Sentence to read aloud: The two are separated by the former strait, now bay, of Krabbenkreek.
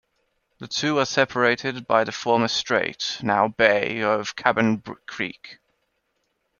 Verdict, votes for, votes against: rejected, 0, 2